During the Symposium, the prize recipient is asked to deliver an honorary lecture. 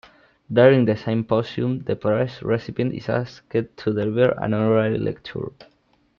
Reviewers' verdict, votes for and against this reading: rejected, 0, 2